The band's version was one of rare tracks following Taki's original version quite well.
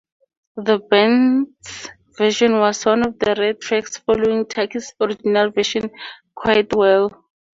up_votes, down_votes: 0, 2